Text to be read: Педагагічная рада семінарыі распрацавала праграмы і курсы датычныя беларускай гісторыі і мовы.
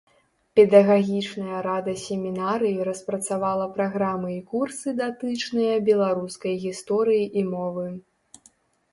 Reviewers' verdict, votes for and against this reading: accepted, 2, 0